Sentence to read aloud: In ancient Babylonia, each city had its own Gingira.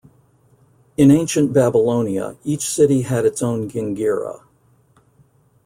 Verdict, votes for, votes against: accepted, 2, 0